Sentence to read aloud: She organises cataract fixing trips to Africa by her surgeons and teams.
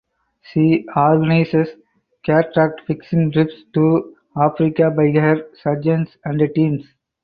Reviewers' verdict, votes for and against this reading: accepted, 4, 2